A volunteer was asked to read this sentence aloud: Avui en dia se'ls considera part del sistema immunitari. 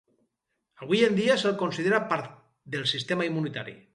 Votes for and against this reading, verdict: 0, 2, rejected